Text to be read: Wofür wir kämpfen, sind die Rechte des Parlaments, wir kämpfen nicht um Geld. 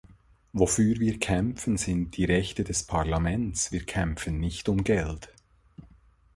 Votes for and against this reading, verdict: 2, 0, accepted